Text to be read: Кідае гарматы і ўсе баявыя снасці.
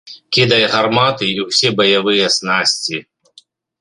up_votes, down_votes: 2, 0